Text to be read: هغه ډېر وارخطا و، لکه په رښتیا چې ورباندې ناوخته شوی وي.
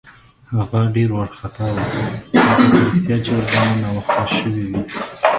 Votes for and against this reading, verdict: 0, 2, rejected